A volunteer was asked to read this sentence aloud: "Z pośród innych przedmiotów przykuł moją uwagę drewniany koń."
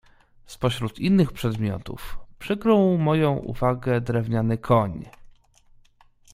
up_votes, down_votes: 1, 2